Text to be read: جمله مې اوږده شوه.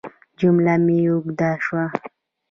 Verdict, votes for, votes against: rejected, 1, 2